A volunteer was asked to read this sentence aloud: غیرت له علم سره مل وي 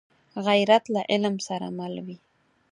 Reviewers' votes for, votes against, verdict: 4, 0, accepted